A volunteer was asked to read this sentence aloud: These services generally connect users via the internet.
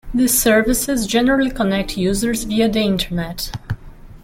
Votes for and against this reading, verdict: 0, 2, rejected